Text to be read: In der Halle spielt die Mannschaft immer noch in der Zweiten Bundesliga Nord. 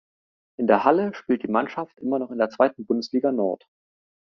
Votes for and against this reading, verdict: 2, 0, accepted